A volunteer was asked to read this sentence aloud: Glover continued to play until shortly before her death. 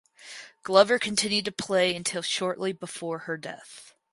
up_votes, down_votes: 4, 0